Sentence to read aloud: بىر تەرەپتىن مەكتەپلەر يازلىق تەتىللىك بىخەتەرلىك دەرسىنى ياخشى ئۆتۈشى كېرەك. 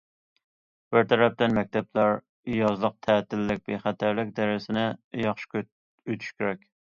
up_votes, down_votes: 1, 2